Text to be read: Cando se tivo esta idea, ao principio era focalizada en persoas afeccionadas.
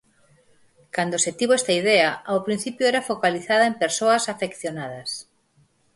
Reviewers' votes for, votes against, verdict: 4, 0, accepted